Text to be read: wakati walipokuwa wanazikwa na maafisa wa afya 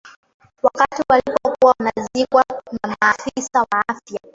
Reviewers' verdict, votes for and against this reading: rejected, 0, 2